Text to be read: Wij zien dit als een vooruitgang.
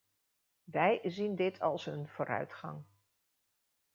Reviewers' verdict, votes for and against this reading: accepted, 2, 0